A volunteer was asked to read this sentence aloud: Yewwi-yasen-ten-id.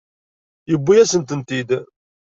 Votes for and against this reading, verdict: 2, 0, accepted